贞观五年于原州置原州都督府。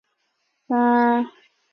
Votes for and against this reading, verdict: 0, 3, rejected